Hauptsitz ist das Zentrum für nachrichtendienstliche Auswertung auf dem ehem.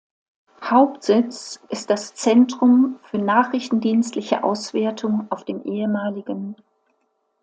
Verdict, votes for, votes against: rejected, 1, 2